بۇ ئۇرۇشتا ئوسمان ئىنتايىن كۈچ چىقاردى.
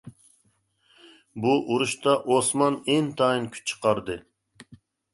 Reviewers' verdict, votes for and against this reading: accepted, 2, 0